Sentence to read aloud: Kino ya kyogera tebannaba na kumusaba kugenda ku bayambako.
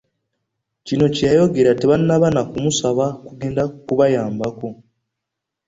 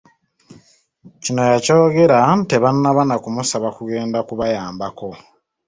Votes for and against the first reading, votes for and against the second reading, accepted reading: 0, 2, 2, 0, second